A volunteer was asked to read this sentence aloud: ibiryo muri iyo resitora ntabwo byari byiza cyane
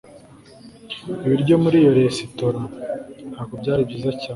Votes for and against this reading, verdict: 2, 0, accepted